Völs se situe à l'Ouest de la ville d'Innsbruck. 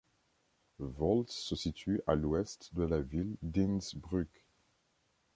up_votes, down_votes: 2, 0